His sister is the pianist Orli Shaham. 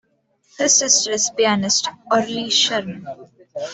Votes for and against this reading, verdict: 2, 1, accepted